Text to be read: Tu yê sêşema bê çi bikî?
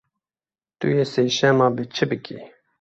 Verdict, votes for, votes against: accepted, 2, 0